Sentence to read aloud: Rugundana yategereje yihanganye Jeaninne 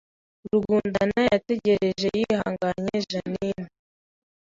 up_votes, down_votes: 2, 0